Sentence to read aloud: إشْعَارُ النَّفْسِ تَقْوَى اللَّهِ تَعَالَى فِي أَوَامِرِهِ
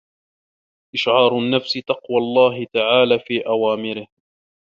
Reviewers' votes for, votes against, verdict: 1, 2, rejected